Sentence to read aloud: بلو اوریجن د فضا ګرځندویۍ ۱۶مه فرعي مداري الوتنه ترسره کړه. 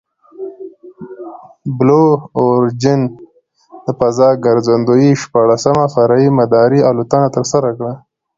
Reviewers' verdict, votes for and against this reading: rejected, 0, 2